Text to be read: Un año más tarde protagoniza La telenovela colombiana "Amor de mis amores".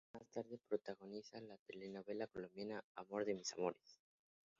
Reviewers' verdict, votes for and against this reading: rejected, 0, 2